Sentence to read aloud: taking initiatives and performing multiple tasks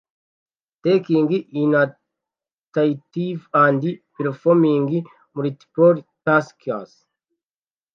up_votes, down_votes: 1, 2